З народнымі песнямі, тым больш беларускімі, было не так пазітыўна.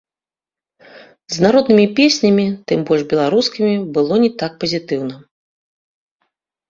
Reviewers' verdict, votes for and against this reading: accepted, 2, 0